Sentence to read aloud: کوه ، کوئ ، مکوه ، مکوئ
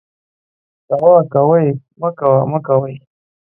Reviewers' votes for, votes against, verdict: 0, 2, rejected